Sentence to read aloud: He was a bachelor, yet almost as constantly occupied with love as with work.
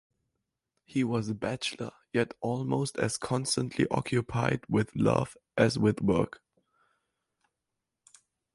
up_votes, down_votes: 4, 0